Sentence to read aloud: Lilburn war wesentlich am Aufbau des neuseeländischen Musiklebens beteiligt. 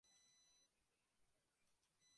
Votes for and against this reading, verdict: 0, 2, rejected